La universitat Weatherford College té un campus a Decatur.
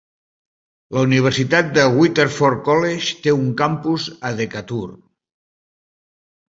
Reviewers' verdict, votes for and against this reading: rejected, 1, 2